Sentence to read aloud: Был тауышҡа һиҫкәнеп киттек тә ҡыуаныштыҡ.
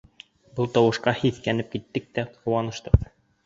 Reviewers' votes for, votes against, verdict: 2, 0, accepted